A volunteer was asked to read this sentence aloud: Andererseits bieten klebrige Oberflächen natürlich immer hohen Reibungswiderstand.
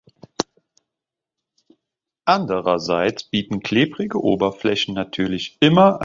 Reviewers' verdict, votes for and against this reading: rejected, 0, 3